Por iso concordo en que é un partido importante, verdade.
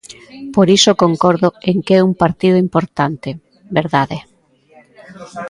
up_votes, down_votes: 0, 2